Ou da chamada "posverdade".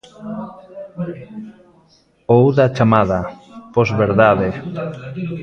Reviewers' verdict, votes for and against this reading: rejected, 0, 2